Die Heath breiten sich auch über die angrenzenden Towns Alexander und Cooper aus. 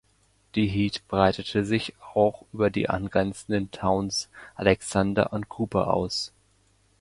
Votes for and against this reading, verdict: 1, 2, rejected